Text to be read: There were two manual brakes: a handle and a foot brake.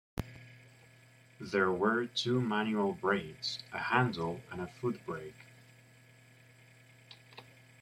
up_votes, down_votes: 0, 2